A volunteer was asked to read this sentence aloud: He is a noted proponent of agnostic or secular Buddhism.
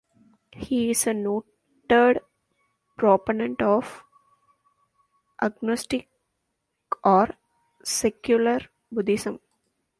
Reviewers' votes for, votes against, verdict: 1, 2, rejected